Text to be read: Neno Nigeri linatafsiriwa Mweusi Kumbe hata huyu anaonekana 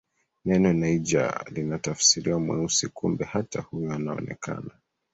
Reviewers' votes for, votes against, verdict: 1, 2, rejected